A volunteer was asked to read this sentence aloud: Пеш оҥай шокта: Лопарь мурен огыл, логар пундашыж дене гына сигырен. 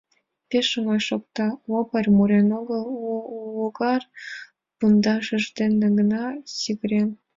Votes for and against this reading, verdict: 1, 2, rejected